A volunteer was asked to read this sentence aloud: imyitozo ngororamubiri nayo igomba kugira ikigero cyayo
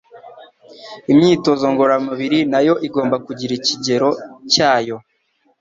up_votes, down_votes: 2, 0